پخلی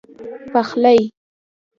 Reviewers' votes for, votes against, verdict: 2, 0, accepted